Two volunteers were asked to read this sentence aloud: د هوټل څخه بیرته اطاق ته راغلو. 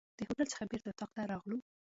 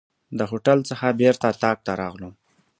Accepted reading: second